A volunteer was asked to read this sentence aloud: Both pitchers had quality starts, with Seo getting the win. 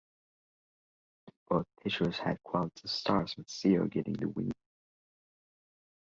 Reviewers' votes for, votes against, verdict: 3, 1, accepted